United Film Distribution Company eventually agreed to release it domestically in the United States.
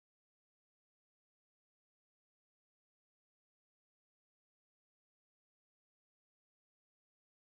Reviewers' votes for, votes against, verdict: 0, 4, rejected